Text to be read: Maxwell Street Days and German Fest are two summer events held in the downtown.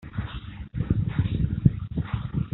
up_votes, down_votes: 0, 2